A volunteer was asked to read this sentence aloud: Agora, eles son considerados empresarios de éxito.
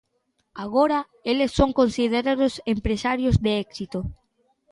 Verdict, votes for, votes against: rejected, 1, 2